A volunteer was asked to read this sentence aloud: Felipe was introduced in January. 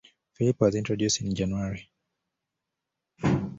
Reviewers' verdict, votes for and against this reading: accepted, 2, 0